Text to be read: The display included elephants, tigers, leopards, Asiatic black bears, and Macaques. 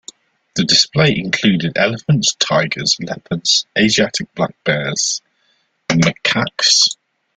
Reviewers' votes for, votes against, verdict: 1, 2, rejected